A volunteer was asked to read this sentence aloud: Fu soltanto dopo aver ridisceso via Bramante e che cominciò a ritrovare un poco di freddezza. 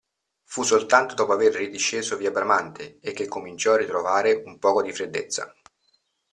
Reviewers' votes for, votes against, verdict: 2, 0, accepted